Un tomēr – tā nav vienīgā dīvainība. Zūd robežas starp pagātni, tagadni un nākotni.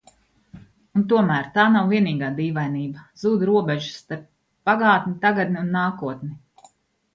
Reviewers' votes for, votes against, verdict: 2, 0, accepted